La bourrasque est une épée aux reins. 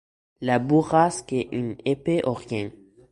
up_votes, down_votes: 2, 1